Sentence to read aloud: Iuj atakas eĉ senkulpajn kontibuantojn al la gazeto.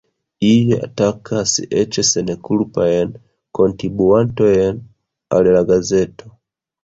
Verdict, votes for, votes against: rejected, 0, 2